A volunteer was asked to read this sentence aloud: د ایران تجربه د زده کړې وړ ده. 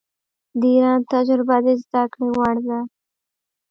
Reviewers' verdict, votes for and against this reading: rejected, 0, 2